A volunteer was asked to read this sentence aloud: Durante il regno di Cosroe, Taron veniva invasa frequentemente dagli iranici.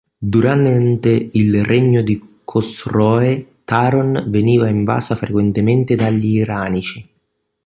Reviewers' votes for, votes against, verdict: 1, 3, rejected